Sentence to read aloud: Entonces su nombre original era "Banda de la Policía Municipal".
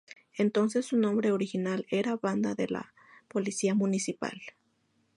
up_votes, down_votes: 2, 0